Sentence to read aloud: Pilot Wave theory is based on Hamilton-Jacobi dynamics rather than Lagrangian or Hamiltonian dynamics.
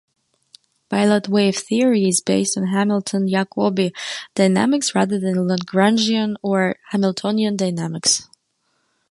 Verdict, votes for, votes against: accepted, 2, 0